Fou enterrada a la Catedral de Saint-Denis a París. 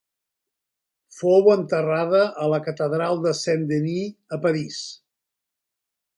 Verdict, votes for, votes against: accepted, 3, 0